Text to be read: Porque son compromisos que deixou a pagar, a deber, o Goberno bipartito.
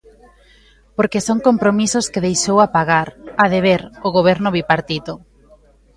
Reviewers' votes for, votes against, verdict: 2, 1, accepted